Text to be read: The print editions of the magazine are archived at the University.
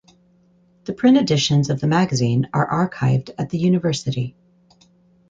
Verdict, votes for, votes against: accepted, 4, 0